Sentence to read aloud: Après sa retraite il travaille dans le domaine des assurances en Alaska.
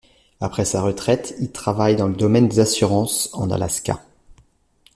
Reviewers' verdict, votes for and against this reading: accepted, 2, 0